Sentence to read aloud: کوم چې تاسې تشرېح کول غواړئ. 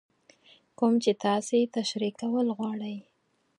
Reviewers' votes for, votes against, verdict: 4, 0, accepted